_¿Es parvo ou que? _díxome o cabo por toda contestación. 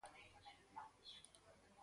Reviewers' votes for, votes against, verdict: 0, 4, rejected